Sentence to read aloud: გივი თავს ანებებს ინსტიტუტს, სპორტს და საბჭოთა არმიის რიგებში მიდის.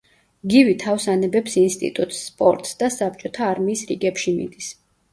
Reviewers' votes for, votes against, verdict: 2, 0, accepted